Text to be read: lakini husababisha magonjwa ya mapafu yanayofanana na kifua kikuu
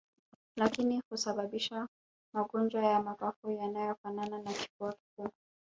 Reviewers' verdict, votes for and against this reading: rejected, 1, 2